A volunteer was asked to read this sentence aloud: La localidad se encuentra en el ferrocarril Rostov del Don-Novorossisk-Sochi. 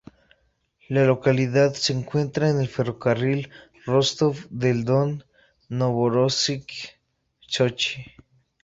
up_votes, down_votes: 2, 0